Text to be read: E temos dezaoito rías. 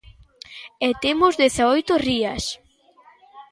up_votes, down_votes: 2, 0